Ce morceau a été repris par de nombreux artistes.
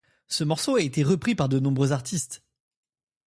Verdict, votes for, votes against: accepted, 2, 0